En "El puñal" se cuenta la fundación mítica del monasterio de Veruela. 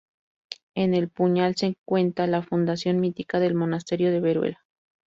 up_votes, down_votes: 0, 2